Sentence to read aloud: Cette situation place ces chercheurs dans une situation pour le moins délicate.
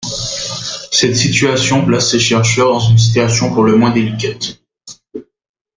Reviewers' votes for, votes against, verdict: 1, 2, rejected